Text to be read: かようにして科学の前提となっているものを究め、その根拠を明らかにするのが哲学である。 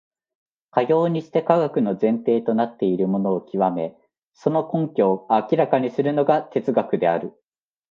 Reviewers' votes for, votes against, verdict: 2, 0, accepted